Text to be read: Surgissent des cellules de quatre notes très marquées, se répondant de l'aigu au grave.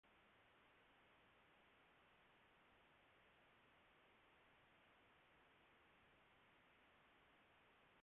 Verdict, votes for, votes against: rejected, 0, 2